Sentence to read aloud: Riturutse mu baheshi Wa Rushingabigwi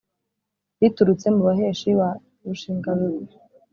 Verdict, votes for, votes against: accepted, 3, 1